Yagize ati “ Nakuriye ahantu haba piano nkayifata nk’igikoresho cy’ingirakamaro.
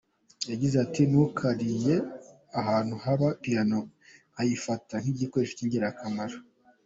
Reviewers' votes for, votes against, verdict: 2, 0, accepted